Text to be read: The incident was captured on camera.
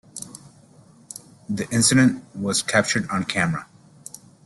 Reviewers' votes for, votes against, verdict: 2, 0, accepted